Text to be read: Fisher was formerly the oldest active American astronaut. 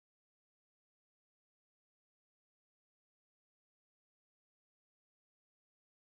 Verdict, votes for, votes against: rejected, 0, 2